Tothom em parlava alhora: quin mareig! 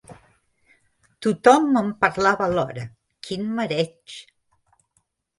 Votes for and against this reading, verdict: 2, 0, accepted